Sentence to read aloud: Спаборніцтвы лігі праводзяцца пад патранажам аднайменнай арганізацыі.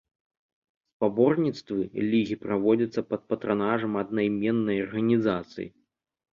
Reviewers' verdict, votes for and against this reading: accepted, 2, 0